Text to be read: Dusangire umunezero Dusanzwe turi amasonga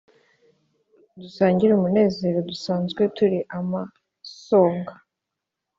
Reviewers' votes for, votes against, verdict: 2, 0, accepted